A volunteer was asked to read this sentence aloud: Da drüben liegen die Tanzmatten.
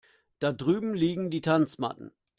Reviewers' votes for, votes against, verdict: 2, 0, accepted